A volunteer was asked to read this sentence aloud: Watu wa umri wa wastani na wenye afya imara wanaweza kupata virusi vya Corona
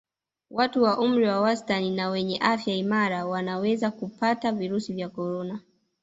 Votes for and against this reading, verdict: 5, 1, accepted